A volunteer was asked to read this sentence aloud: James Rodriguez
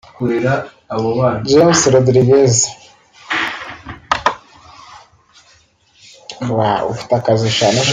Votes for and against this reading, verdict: 1, 2, rejected